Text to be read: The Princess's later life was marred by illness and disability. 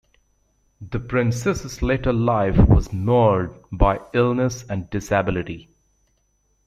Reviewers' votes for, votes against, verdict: 2, 0, accepted